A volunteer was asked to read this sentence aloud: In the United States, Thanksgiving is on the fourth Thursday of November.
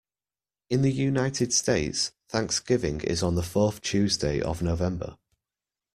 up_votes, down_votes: 0, 2